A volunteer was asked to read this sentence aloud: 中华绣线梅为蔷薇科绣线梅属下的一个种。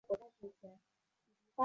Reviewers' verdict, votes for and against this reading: rejected, 0, 2